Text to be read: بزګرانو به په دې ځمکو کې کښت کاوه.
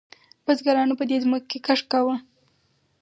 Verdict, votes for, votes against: rejected, 2, 2